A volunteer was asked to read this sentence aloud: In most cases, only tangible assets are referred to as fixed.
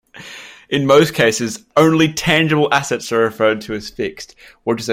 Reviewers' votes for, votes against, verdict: 1, 2, rejected